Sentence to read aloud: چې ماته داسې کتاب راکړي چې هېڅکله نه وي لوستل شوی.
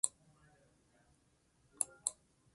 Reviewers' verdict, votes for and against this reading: rejected, 0, 2